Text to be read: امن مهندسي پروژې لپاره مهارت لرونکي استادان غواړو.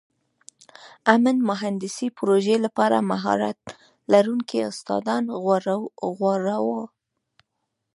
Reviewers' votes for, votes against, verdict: 1, 2, rejected